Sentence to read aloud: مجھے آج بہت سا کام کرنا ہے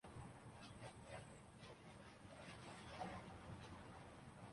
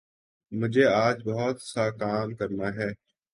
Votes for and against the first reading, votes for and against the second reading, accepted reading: 0, 2, 2, 0, second